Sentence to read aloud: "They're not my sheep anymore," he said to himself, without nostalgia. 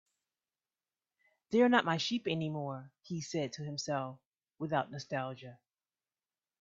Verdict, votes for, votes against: accepted, 2, 0